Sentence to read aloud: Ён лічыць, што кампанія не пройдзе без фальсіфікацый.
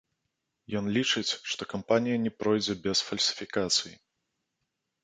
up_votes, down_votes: 0, 2